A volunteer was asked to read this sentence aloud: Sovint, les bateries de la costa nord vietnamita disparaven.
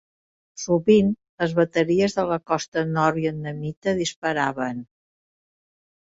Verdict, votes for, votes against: accepted, 2, 0